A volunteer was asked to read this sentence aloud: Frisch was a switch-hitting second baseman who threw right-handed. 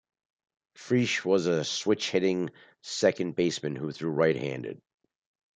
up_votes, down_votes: 2, 0